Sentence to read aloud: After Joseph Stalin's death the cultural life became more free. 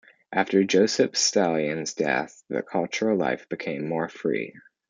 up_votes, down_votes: 2, 1